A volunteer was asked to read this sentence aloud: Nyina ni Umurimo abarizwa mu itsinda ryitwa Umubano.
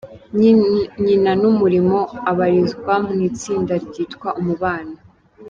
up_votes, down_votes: 0, 2